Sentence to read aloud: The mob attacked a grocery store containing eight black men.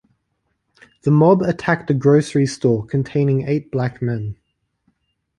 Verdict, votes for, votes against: accepted, 2, 0